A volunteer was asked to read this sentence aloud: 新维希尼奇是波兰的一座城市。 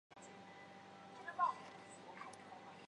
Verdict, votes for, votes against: rejected, 0, 3